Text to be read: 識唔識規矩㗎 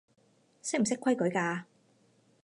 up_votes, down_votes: 4, 0